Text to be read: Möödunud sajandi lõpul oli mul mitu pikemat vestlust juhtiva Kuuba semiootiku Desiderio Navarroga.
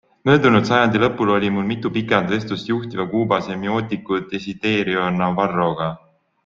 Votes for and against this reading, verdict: 3, 0, accepted